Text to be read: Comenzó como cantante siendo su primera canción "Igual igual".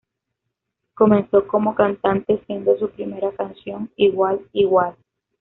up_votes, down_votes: 2, 0